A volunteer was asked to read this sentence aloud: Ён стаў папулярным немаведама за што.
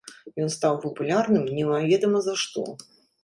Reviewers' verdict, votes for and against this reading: accepted, 2, 0